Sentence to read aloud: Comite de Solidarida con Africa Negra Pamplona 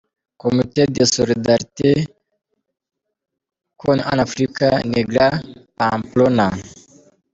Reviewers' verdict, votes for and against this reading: rejected, 1, 2